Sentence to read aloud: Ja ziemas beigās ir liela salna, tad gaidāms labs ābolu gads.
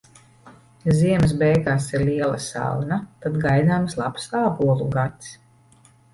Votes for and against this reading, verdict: 2, 0, accepted